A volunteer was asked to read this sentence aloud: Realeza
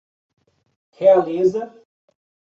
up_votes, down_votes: 2, 0